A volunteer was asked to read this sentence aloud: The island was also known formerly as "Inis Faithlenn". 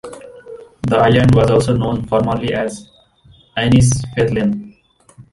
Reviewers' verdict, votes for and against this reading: accepted, 2, 0